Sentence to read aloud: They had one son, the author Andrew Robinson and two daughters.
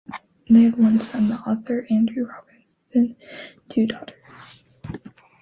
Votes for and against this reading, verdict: 2, 1, accepted